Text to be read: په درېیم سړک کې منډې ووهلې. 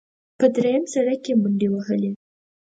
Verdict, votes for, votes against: accepted, 4, 0